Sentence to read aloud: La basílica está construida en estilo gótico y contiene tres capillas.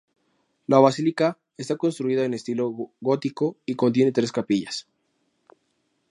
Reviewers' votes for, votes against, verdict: 4, 0, accepted